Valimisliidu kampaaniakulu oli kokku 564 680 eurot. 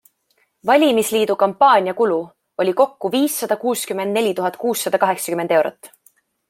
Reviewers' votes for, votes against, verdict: 0, 2, rejected